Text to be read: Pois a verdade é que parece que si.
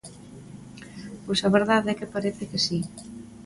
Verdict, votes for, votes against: accepted, 2, 0